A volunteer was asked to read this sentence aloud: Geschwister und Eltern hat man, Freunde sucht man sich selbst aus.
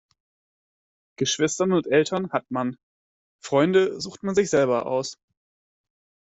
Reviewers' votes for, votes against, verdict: 0, 2, rejected